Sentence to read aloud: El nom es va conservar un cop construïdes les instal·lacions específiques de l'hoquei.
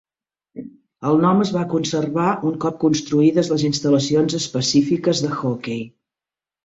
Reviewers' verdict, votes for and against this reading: rejected, 0, 3